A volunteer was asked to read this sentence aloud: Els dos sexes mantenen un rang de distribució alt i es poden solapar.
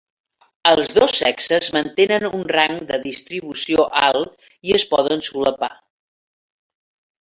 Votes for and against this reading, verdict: 4, 0, accepted